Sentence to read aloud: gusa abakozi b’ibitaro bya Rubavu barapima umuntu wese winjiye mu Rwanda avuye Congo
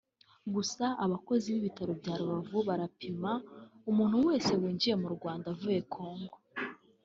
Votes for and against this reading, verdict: 3, 0, accepted